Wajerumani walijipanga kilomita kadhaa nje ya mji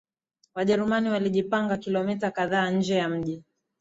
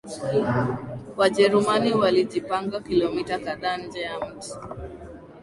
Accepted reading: first